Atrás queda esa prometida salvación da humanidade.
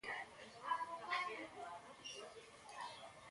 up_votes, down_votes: 0, 2